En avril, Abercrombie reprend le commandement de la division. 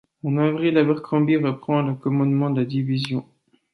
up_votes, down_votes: 2, 0